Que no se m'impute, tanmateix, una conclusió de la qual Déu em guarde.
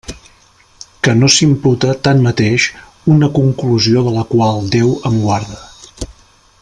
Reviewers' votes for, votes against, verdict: 0, 2, rejected